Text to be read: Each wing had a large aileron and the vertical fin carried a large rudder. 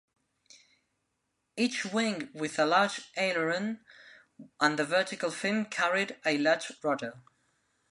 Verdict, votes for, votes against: rejected, 0, 2